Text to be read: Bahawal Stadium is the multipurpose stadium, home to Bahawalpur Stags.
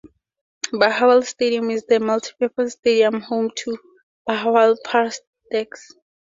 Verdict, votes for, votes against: accepted, 2, 0